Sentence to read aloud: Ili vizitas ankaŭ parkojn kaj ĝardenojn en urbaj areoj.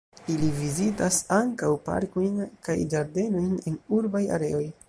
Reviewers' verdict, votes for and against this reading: rejected, 0, 2